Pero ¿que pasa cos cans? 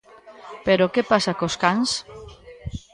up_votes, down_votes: 0, 2